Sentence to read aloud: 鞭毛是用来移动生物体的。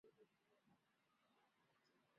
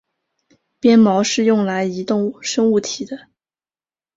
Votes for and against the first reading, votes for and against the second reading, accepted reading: 0, 3, 3, 0, second